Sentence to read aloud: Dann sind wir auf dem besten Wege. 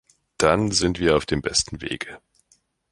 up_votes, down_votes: 2, 0